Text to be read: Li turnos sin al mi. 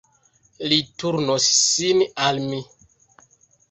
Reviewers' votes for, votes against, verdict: 1, 2, rejected